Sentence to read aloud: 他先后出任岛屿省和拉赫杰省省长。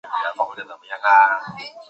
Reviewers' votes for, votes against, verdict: 0, 2, rejected